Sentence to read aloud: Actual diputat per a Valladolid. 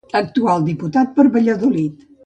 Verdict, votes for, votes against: rejected, 1, 2